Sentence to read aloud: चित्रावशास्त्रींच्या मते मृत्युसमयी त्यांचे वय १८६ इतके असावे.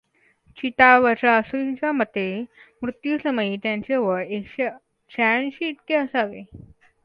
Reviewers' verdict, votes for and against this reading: rejected, 0, 2